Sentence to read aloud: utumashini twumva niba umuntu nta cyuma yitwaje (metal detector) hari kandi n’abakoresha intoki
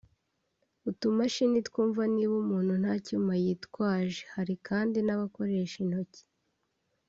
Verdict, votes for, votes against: rejected, 1, 2